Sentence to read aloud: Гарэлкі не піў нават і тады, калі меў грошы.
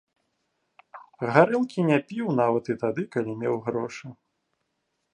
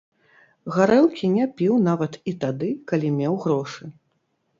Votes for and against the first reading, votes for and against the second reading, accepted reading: 3, 0, 1, 2, first